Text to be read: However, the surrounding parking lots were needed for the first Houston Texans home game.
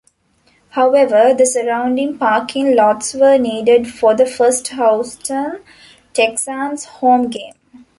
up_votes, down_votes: 0, 2